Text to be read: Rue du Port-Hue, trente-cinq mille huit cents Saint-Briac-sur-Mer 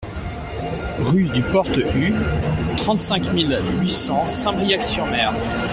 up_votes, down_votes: 2, 0